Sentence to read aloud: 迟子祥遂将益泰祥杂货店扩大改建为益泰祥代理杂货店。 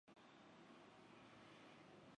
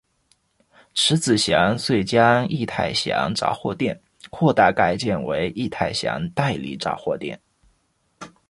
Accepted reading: second